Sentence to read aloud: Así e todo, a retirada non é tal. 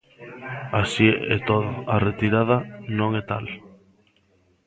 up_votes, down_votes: 1, 2